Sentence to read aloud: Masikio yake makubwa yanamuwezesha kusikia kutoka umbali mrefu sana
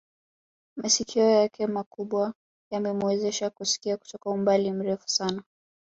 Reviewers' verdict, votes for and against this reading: accepted, 3, 0